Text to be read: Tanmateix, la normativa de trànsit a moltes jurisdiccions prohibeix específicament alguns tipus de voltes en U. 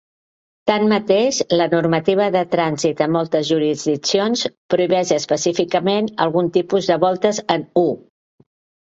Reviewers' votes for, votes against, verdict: 1, 2, rejected